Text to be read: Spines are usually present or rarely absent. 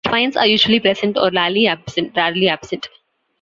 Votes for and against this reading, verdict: 0, 2, rejected